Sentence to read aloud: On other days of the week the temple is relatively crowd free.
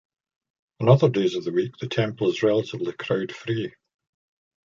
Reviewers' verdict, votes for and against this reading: accepted, 2, 0